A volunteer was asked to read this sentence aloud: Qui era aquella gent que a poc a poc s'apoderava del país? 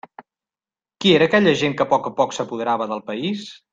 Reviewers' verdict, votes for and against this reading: accepted, 2, 0